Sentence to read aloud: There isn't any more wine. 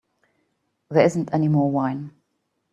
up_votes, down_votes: 3, 0